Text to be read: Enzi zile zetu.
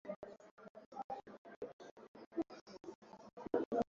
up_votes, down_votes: 0, 2